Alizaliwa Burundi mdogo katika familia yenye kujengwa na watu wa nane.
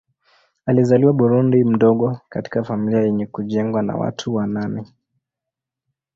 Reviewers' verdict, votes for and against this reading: accepted, 2, 0